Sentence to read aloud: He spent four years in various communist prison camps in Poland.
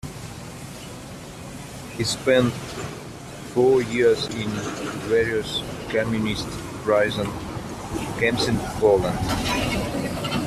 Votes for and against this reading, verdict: 1, 2, rejected